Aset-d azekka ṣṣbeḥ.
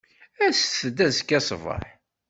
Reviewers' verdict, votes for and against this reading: accepted, 2, 0